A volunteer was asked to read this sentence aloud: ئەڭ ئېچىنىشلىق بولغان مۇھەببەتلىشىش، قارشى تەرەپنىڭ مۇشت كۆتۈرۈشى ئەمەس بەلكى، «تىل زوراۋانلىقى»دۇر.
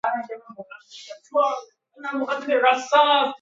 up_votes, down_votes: 0, 2